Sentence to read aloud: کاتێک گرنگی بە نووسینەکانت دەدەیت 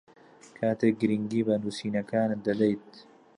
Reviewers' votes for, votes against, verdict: 2, 0, accepted